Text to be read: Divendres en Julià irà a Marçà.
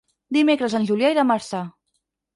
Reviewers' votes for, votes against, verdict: 2, 4, rejected